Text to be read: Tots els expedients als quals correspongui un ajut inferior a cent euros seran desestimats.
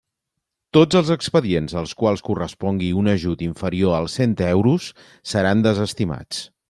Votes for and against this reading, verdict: 1, 2, rejected